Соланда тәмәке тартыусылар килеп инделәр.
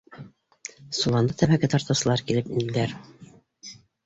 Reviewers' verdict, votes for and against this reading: rejected, 2, 4